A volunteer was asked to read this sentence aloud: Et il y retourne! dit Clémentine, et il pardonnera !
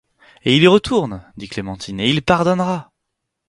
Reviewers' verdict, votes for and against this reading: accepted, 4, 0